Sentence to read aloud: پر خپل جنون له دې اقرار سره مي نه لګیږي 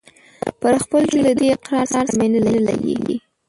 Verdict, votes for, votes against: rejected, 0, 2